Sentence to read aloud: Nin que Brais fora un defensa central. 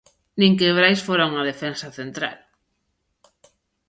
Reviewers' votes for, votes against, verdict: 0, 2, rejected